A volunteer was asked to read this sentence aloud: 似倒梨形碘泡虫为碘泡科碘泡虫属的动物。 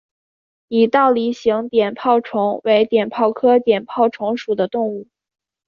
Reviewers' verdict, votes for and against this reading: accepted, 3, 1